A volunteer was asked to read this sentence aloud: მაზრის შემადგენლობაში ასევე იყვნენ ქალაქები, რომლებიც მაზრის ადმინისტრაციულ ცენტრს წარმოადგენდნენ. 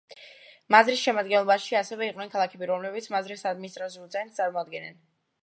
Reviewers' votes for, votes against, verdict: 1, 2, rejected